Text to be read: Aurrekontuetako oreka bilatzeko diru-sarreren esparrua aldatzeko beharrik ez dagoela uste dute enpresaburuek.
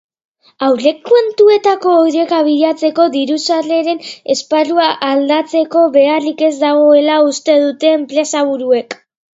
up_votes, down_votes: 3, 0